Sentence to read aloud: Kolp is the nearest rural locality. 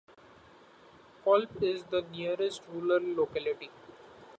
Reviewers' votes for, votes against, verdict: 2, 0, accepted